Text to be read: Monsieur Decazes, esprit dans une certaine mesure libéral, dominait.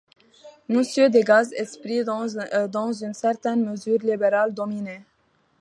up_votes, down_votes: 1, 2